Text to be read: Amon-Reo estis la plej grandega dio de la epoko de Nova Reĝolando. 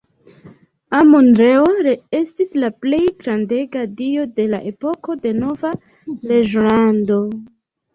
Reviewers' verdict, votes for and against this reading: rejected, 0, 2